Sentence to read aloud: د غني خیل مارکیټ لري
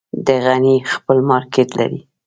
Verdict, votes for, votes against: rejected, 1, 2